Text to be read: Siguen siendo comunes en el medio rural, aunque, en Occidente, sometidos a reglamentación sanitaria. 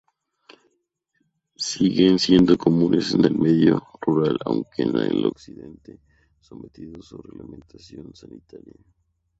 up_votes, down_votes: 2, 2